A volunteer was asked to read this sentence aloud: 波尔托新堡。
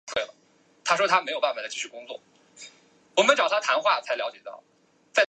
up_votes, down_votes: 0, 2